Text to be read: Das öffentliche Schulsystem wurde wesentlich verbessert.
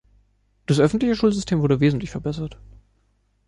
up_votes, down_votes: 2, 0